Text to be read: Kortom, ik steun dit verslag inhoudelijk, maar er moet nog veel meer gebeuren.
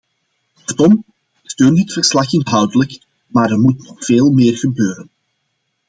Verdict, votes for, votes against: rejected, 1, 2